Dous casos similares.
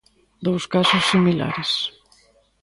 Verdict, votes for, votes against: accepted, 2, 1